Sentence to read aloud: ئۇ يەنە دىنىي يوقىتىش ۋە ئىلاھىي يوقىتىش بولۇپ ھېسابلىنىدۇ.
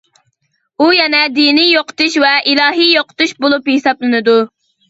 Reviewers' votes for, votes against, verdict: 2, 0, accepted